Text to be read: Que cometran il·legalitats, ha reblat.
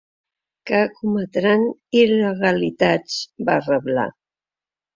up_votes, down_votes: 1, 2